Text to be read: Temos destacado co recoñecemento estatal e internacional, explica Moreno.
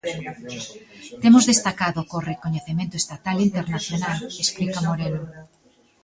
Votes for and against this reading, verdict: 0, 2, rejected